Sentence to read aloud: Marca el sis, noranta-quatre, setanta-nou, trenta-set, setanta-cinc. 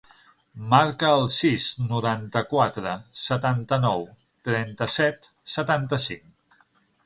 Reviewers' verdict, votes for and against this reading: accepted, 9, 0